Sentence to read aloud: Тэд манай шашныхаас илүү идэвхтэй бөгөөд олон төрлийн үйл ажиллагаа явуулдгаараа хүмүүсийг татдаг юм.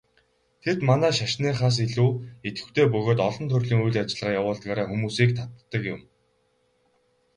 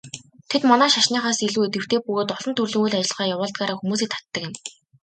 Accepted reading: second